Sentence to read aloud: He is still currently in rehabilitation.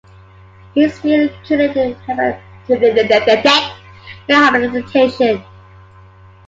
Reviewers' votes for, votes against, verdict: 0, 2, rejected